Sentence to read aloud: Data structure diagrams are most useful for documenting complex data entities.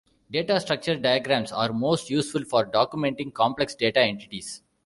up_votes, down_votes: 2, 0